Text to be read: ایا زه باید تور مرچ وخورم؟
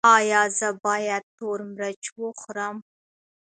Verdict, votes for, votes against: accepted, 2, 1